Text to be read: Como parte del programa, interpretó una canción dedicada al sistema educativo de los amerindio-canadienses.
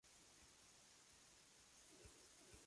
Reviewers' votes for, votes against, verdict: 0, 2, rejected